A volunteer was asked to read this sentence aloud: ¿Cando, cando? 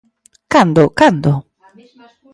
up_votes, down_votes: 2, 0